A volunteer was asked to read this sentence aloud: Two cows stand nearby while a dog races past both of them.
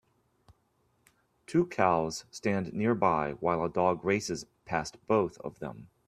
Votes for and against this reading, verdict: 2, 0, accepted